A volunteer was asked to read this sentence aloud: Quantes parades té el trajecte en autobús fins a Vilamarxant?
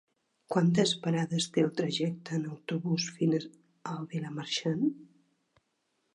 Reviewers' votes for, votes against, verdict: 3, 1, accepted